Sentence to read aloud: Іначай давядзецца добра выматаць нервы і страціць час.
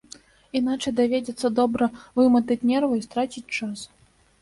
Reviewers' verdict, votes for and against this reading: rejected, 0, 2